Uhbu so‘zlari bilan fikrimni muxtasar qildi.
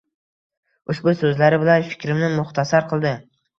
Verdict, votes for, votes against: accepted, 3, 0